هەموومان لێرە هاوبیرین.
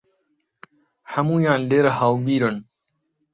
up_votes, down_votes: 0, 2